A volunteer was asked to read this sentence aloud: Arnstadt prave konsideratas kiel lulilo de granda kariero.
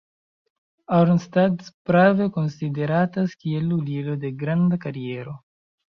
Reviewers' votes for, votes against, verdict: 0, 2, rejected